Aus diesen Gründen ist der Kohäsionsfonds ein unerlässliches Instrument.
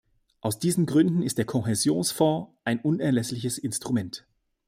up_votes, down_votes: 2, 0